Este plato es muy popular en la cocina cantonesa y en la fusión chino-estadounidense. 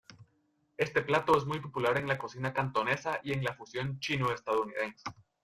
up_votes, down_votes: 1, 2